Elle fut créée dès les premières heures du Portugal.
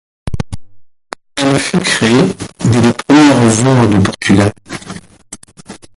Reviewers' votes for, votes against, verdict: 0, 4, rejected